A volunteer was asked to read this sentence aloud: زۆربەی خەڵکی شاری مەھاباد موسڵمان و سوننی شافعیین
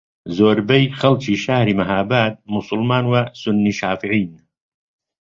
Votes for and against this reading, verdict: 2, 0, accepted